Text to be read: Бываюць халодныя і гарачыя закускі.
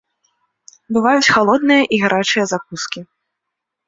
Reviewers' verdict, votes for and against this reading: accepted, 2, 0